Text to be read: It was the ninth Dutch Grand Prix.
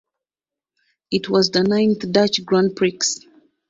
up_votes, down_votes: 2, 0